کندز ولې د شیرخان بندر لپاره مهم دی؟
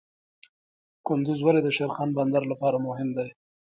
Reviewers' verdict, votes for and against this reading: accepted, 2, 0